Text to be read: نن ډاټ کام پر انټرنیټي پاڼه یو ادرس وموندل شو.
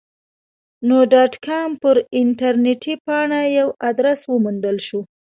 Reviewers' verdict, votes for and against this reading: rejected, 1, 2